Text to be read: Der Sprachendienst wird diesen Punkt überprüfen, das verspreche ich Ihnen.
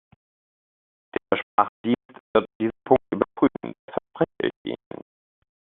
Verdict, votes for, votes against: rejected, 0, 2